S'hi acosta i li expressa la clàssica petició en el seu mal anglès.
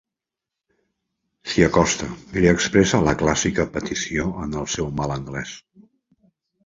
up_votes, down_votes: 2, 0